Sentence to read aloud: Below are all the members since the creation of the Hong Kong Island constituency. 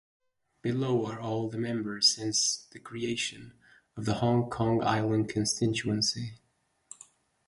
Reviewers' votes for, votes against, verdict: 4, 2, accepted